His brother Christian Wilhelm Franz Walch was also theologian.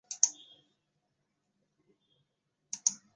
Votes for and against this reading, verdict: 0, 2, rejected